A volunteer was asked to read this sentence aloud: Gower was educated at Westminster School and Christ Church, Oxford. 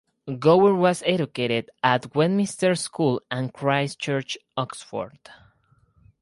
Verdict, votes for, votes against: rejected, 2, 2